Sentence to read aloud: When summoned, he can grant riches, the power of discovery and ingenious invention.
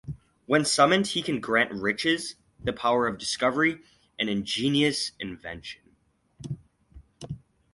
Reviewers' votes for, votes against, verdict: 2, 0, accepted